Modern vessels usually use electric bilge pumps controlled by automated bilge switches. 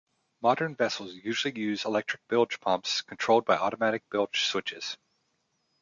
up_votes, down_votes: 0, 2